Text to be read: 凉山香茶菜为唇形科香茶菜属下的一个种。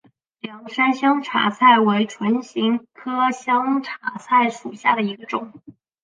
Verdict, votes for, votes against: accepted, 3, 1